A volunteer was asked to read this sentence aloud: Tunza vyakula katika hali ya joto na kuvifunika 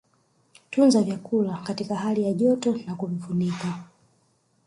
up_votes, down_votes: 2, 0